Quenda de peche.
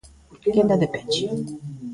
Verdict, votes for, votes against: rejected, 0, 2